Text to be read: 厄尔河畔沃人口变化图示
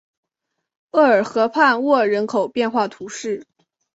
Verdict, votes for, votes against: accepted, 5, 0